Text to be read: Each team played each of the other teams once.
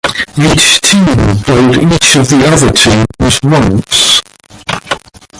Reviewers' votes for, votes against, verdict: 0, 2, rejected